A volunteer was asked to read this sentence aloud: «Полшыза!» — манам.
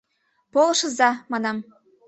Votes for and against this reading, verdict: 2, 0, accepted